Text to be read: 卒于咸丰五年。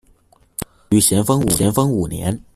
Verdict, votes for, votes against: rejected, 0, 2